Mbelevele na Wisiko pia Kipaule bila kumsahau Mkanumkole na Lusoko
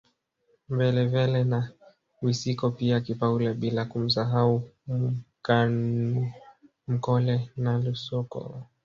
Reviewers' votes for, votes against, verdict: 1, 2, rejected